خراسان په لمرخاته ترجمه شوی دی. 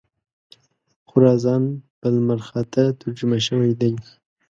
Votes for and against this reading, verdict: 3, 0, accepted